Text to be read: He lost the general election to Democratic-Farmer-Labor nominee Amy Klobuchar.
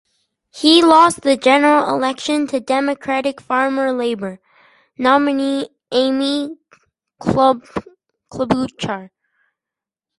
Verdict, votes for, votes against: rejected, 0, 4